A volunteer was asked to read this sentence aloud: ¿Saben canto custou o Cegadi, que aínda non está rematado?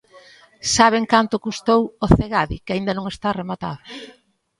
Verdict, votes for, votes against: accepted, 2, 0